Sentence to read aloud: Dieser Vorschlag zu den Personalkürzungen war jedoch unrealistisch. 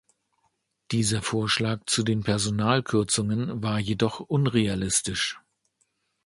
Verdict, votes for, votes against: accepted, 2, 0